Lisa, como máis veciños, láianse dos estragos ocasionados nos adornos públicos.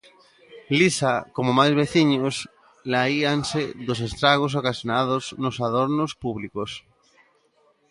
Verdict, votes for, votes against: rejected, 0, 2